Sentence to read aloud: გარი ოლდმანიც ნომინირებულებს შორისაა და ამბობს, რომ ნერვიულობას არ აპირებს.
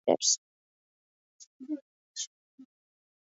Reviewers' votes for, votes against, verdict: 0, 2, rejected